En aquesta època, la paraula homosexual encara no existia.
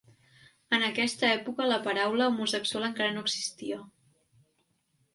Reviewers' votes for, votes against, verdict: 3, 0, accepted